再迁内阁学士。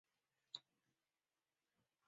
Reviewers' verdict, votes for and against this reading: rejected, 1, 2